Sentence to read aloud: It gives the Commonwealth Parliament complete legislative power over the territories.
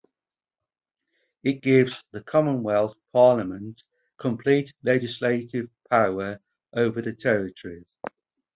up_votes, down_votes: 4, 0